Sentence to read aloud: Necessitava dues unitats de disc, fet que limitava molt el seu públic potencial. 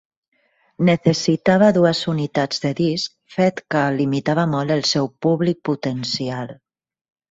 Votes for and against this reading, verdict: 1, 2, rejected